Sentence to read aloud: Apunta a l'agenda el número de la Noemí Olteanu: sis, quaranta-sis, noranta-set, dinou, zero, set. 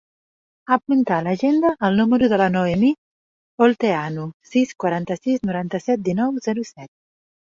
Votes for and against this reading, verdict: 2, 0, accepted